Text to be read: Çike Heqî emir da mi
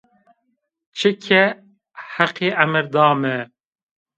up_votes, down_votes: 2, 0